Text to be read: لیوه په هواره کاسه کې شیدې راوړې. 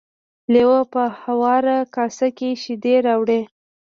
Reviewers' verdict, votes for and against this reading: rejected, 1, 2